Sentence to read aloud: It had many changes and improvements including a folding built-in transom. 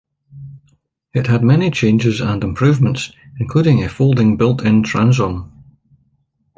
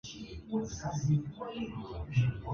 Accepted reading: first